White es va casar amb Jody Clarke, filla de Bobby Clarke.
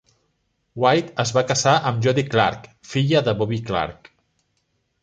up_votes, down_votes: 0, 2